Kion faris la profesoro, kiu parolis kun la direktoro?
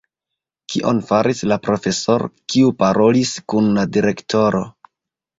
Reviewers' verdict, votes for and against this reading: rejected, 1, 2